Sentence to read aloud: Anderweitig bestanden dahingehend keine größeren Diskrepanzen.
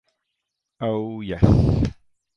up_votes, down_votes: 0, 2